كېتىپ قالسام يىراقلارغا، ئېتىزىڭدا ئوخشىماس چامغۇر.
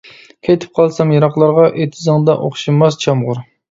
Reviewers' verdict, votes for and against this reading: accepted, 2, 0